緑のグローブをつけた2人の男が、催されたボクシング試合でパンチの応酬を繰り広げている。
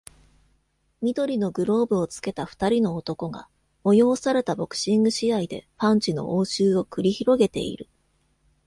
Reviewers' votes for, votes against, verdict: 0, 2, rejected